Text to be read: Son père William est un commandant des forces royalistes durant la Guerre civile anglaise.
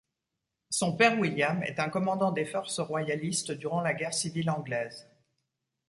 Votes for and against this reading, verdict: 2, 0, accepted